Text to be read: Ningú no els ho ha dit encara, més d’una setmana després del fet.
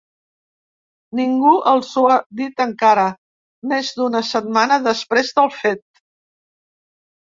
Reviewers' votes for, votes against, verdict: 1, 2, rejected